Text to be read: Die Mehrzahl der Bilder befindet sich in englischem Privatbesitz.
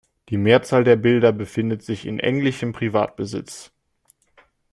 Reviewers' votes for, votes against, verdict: 2, 0, accepted